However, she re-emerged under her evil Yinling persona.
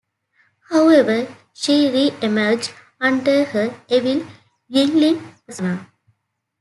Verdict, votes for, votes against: accepted, 2, 0